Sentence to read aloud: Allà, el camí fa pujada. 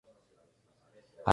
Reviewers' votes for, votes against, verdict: 0, 3, rejected